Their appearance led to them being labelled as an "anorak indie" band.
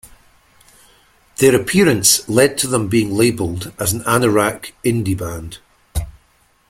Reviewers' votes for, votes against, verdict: 1, 2, rejected